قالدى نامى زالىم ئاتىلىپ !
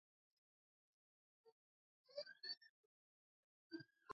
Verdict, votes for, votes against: rejected, 0, 2